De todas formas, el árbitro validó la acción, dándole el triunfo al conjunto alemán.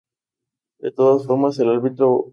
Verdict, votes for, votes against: rejected, 0, 2